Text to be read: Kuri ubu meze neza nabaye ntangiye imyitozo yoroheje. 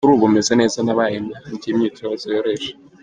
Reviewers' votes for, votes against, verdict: 0, 2, rejected